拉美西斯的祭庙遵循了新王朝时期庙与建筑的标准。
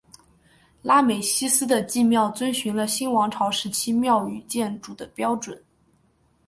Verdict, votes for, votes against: accepted, 3, 1